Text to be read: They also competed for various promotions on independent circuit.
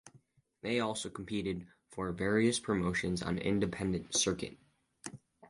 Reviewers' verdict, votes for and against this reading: accepted, 4, 0